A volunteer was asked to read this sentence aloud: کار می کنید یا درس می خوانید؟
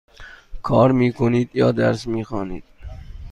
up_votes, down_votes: 2, 0